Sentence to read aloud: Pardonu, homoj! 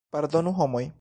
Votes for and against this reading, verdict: 3, 1, accepted